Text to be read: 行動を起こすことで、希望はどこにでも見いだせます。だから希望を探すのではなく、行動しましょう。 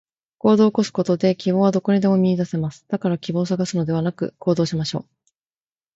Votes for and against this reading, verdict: 2, 0, accepted